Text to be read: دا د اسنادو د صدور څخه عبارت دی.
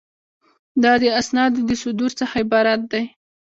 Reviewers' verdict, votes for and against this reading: accepted, 2, 0